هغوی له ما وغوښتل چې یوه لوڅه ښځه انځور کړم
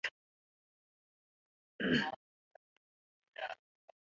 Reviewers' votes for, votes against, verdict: 0, 2, rejected